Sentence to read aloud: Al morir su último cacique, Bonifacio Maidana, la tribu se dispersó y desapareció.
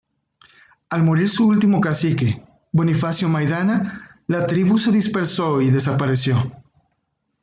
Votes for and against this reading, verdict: 2, 0, accepted